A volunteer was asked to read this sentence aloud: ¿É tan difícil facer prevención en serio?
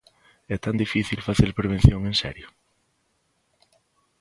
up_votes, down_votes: 2, 0